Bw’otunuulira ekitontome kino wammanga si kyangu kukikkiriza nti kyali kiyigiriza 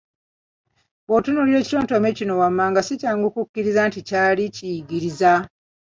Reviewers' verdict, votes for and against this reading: rejected, 1, 2